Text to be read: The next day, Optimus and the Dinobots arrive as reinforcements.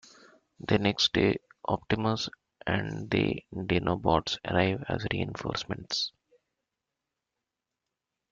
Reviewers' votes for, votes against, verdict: 2, 1, accepted